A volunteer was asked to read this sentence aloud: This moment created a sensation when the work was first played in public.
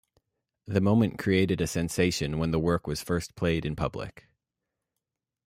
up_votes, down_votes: 1, 2